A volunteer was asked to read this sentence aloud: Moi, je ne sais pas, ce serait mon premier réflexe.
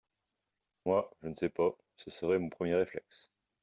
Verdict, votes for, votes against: accepted, 2, 0